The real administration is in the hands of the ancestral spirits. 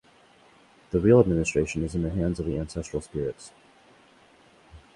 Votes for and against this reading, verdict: 4, 0, accepted